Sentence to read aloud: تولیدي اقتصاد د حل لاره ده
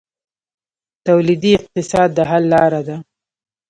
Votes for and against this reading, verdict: 3, 0, accepted